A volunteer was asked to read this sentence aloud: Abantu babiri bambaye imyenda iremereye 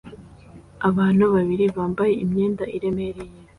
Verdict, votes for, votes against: accepted, 2, 0